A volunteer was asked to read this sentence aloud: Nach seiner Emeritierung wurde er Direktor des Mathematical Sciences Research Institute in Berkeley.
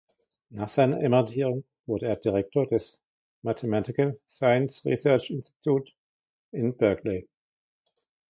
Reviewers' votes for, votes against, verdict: 1, 2, rejected